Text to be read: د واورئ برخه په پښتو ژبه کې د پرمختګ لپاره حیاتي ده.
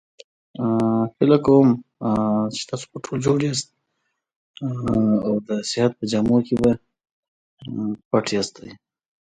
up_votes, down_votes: 0, 2